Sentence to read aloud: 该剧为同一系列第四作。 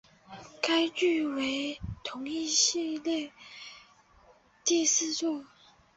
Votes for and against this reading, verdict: 2, 2, rejected